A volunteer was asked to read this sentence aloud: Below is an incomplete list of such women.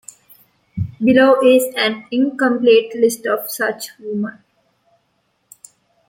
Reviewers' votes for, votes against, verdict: 1, 2, rejected